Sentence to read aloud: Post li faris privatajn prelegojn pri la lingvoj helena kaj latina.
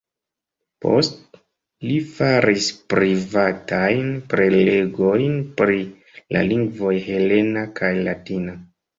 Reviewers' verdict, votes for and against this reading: accepted, 2, 0